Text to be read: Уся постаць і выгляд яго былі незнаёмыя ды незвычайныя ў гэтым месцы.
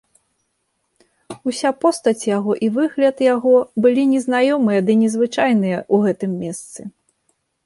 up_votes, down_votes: 1, 2